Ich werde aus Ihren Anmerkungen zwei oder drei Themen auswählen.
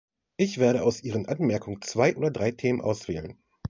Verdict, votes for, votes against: accepted, 2, 0